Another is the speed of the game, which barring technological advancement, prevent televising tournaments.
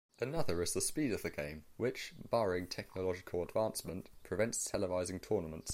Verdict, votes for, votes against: rejected, 0, 2